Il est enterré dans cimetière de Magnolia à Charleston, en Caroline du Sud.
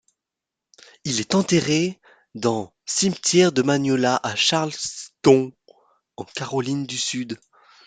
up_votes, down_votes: 0, 2